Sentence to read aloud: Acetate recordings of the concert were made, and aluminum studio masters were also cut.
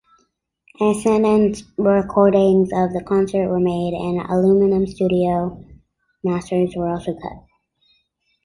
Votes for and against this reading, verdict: 2, 0, accepted